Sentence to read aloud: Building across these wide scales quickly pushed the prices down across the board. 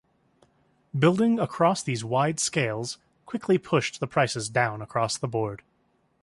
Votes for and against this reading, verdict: 2, 0, accepted